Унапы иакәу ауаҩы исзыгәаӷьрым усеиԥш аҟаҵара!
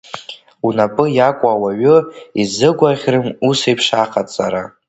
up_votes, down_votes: 2, 1